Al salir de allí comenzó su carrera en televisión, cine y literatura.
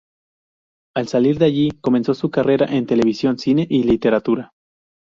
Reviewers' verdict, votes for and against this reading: rejected, 2, 2